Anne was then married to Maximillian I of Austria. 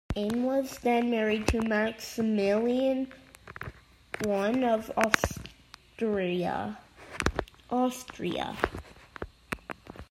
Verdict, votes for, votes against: rejected, 0, 2